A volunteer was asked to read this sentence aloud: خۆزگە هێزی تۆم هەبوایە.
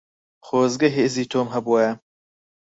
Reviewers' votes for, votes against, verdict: 4, 0, accepted